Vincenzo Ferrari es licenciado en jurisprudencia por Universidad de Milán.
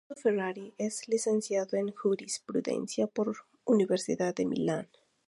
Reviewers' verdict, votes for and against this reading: rejected, 0, 2